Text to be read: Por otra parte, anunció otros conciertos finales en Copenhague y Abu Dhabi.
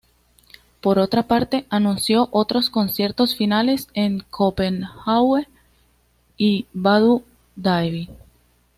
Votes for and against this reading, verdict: 1, 2, rejected